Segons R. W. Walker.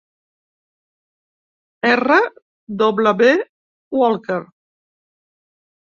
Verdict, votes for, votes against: rejected, 0, 2